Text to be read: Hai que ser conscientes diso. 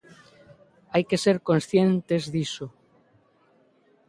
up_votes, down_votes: 2, 0